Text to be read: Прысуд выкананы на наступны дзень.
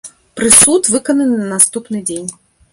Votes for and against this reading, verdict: 2, 0, accepted